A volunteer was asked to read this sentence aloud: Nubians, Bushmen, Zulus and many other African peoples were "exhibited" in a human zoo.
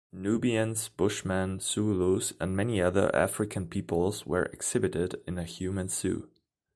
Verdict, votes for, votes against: accepted, 2, 0